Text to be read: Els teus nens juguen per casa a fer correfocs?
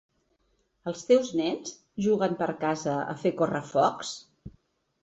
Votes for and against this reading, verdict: 2, 0, accepted